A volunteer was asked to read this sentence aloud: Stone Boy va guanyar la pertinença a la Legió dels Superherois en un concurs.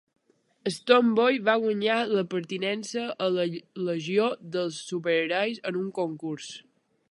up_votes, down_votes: 3, 2